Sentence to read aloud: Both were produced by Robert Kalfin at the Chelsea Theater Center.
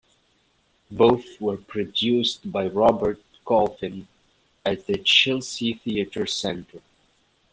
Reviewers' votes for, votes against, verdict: 0, 2, rejected